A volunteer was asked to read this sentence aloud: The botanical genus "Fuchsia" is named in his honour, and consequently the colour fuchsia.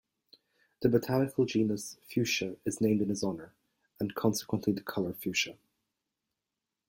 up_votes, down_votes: 2, 0